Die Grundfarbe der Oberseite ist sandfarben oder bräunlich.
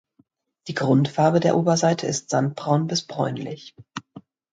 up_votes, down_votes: 1, 2